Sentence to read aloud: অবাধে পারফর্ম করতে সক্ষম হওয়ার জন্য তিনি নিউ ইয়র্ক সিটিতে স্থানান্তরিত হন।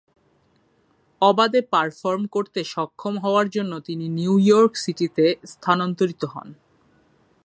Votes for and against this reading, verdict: 5, 0, accepted